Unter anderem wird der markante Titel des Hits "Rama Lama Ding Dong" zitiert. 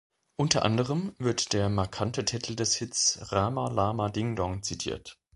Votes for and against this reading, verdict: 2, 0, accepted